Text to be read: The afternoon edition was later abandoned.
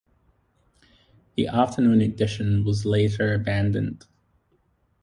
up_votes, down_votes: 2, 0